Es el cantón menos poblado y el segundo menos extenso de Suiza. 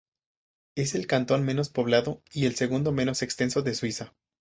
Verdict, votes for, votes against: accepted, 4, 0